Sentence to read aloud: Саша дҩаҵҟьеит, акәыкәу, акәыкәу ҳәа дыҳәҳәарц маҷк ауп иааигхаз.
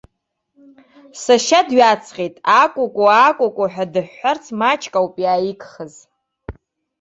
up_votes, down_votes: 1, 2